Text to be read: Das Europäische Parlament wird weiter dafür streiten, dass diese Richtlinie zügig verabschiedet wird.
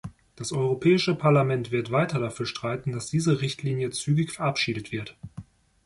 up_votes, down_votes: 2, 0